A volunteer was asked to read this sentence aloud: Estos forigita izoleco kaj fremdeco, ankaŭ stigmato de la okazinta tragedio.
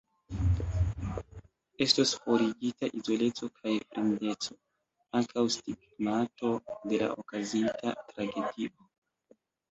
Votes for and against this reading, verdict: 0, 2, rejected